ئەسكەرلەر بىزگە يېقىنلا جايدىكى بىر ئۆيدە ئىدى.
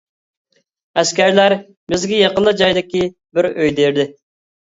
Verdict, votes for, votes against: rejected, 0, 2